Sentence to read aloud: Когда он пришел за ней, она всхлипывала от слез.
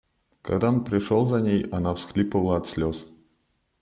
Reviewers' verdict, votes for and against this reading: rejected, 0, 2